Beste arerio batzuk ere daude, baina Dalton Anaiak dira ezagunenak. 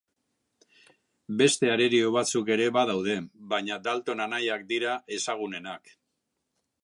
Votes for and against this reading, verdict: 1, 2, rejected